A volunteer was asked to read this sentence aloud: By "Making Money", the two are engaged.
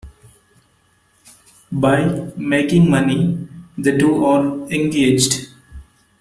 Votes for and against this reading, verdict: 2, 1, accepted